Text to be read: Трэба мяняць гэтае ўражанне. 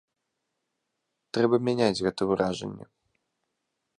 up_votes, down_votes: 1, 2